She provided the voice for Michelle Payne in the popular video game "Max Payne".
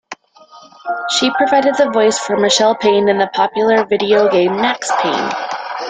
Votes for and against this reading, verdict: 2, 0, accepted